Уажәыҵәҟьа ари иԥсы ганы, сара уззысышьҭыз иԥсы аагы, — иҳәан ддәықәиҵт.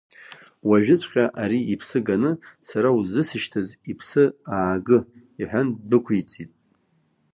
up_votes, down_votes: 1, 2